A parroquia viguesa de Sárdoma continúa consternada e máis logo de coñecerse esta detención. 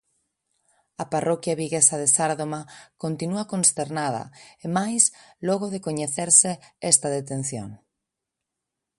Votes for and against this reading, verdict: 2, 0, accepted